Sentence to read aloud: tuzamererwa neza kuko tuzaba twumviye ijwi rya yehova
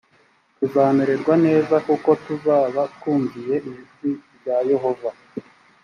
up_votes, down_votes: 2, 0